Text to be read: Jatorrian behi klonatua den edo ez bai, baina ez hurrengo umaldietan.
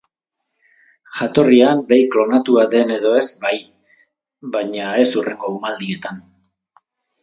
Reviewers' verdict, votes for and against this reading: accepted, 4, 0